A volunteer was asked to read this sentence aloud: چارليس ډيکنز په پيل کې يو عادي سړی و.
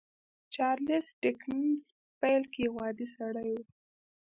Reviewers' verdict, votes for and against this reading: rejected, 0, 2